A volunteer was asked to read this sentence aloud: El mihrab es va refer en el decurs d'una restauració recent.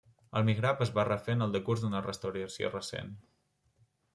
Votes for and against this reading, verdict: 1, 2, rejected